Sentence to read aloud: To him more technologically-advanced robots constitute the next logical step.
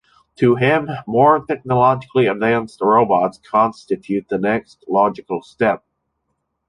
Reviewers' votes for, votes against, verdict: 2, 0, accepted